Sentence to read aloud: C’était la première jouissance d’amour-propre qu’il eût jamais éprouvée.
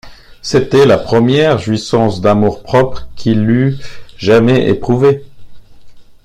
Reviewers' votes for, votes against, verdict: 2, 0, accepted